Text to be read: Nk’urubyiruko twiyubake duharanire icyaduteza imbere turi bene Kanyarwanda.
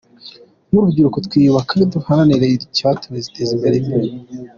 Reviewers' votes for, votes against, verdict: 0, 2, rejected